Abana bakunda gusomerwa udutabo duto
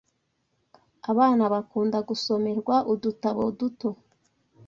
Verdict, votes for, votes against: accepted, 2, 0